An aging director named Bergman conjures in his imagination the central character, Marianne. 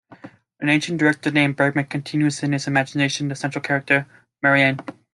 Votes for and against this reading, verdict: 3, 2, accepted